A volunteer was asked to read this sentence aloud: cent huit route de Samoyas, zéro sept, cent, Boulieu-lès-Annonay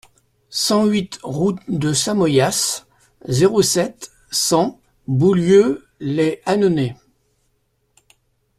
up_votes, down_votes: 2, 0